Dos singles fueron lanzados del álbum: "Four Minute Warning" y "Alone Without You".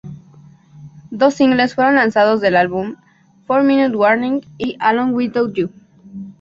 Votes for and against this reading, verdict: 0, 2, rejected